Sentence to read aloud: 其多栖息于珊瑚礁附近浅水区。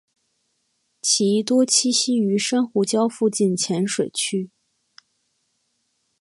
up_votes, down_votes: 2, 0